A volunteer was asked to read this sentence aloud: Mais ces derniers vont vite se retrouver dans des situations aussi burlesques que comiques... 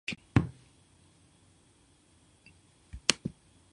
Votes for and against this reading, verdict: 0, 2, rejected